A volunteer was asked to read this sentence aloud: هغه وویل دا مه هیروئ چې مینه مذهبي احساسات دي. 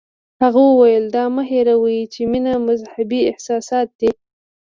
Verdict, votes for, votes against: accepted, 2, 0